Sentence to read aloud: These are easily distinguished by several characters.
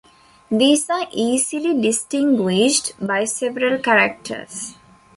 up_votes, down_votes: 2, 0